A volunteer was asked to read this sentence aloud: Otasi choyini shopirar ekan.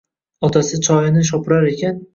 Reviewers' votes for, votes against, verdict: 2, 0, accepted